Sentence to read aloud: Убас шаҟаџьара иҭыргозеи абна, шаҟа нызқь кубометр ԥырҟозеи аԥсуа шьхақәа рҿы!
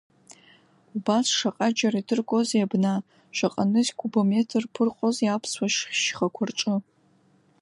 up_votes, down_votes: 1, 2